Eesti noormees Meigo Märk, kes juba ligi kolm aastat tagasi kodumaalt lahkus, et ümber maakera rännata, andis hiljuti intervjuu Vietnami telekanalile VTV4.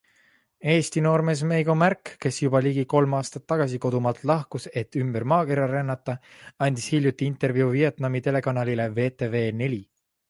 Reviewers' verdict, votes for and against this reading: rejected, 0, 2